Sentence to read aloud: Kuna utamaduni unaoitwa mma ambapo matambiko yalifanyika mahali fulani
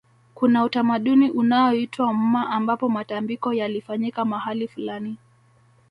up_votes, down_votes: 2, 0